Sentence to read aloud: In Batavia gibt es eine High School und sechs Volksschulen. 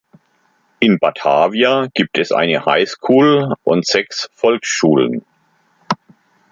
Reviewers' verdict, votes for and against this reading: accepted, 2, 0